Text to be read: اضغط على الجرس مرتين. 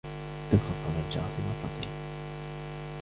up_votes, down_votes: 1, 2